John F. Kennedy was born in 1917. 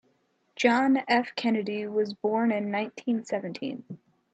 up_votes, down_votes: 0, 2